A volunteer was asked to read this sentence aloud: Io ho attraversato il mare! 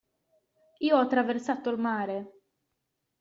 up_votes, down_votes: 1, 2